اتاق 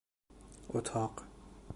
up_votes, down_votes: 2, 0